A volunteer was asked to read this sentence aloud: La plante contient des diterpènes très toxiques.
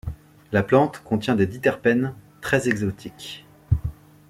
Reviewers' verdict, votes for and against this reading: rejected, 0, 2